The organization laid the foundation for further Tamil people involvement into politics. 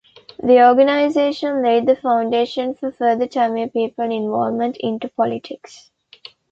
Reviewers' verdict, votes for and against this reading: accepted, 2, 0